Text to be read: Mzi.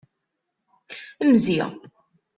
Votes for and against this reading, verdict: 2, 1, accepted